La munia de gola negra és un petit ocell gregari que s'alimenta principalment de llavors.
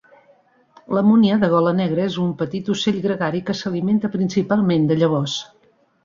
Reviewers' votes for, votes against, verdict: 1, 2, rejected